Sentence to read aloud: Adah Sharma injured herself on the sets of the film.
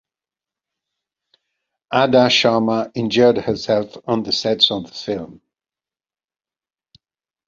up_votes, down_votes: 2, 0